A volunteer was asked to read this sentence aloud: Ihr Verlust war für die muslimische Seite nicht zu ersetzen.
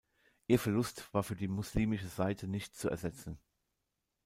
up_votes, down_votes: 2, 0